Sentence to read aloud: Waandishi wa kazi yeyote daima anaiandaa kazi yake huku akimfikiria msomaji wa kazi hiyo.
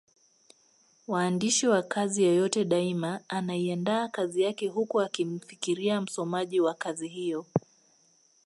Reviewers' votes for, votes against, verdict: 2, 0, accepted